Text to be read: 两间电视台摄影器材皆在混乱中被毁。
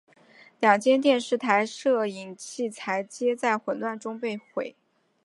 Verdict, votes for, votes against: accepted, 2, 1